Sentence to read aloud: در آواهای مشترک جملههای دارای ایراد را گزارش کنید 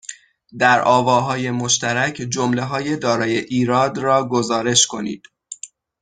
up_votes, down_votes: 6, 3